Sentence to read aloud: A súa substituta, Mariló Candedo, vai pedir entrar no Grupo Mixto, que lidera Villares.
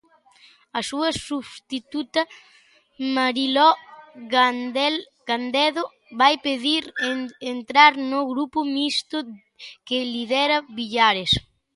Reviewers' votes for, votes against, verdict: 0, 2, rejected